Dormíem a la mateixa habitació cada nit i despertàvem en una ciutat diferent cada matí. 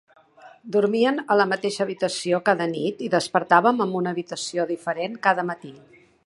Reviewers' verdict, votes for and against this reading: rejected, 2, 4